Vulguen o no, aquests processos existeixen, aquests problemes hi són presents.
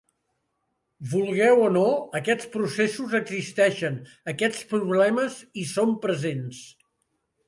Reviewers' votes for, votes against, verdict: 0, 2, rejected